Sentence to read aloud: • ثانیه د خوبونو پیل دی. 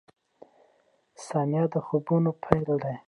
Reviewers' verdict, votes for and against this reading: accepted, 2, 0